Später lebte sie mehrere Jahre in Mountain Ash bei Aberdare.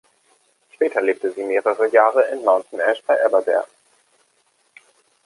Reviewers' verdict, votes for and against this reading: accepted, 2, 0